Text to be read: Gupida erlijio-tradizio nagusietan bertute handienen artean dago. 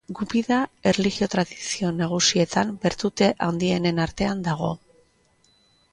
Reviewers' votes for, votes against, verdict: 1, 2, rejected